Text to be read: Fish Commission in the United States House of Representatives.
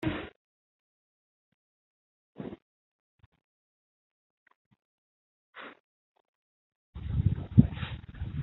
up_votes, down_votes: 0, 2